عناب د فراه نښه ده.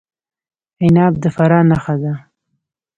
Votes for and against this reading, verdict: 1, 2, rejected